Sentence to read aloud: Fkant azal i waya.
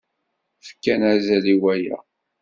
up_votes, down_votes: 0, 2